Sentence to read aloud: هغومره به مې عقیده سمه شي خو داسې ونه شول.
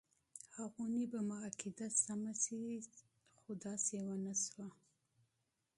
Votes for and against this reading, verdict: 1, 2, rejected